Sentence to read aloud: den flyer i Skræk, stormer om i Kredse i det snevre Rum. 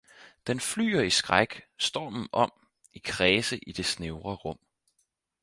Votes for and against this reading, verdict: 2, 4, rejected